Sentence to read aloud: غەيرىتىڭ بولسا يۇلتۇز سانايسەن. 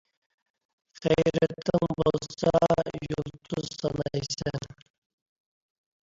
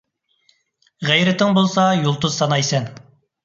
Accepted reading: second